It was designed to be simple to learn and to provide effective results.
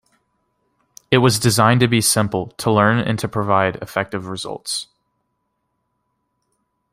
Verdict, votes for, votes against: accepted, 2, 0